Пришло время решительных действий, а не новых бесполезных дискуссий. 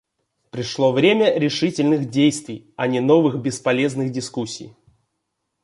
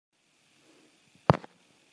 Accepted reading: first